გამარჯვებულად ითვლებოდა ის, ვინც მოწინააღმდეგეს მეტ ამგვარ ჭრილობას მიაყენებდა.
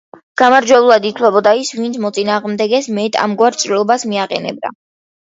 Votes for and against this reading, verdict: 2, 0, accepted